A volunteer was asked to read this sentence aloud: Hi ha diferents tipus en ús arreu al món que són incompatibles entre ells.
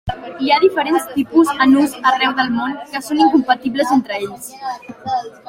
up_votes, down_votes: 1, 2